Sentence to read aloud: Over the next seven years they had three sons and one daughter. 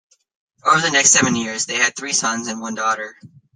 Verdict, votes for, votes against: accepted, 2, 0